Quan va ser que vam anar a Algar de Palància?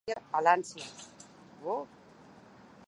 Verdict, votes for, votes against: rejected, 0, 2